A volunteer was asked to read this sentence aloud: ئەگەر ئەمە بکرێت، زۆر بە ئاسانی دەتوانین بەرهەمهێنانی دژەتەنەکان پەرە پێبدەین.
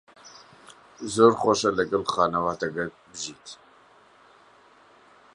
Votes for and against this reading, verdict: 0, 2, rejected